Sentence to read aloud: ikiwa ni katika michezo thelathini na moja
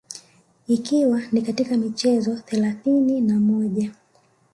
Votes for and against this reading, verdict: 1, 2, rejected